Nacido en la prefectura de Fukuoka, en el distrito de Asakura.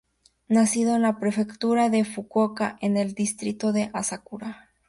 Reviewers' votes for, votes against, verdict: 2, 0, accepted